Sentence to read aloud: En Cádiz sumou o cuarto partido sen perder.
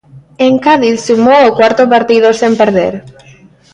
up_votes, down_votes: 1, 2